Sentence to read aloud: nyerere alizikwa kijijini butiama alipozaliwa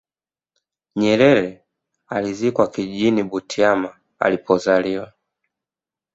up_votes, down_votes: 2, 0